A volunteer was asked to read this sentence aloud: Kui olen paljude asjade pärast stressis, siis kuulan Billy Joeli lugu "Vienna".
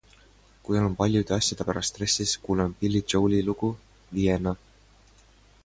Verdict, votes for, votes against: accepted, 2, 0